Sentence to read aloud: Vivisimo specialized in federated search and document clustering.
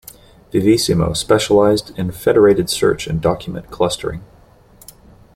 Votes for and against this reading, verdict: 2, 0, accepted